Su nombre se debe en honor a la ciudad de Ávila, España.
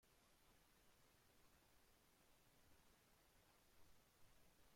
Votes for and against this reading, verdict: 0, 2, rejected